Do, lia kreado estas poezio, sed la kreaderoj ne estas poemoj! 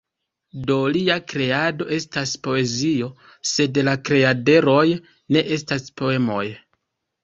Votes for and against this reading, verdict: 2, 0, accepted